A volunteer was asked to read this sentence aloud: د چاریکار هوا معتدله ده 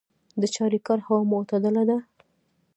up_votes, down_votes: 0, 2